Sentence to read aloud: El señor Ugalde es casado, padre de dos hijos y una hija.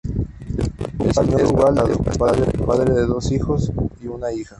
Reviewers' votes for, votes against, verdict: 0, 2, rejected